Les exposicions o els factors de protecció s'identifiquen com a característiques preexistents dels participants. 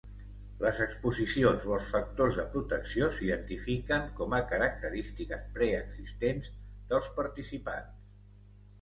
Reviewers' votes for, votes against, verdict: 2, 0, accepted